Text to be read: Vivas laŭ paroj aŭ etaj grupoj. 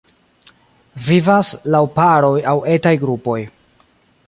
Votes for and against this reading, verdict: 2, 1, accepted